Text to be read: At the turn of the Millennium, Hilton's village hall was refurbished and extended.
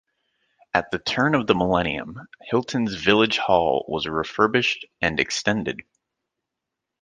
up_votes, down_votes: 2, 0